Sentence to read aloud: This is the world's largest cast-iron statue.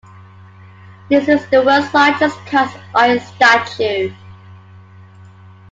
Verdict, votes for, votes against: accepted, 2, 1